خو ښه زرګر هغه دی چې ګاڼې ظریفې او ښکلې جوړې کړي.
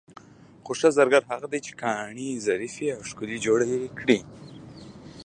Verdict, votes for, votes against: accepted, 2, 1